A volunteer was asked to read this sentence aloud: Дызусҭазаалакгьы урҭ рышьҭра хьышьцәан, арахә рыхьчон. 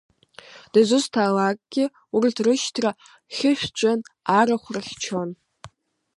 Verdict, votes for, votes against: accepted, 2, 0